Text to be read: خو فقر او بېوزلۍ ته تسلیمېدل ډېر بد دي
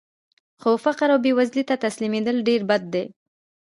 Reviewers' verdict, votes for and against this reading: rejected, 1, 2